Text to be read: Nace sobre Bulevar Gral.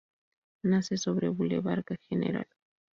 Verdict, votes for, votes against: rejected, 0, 2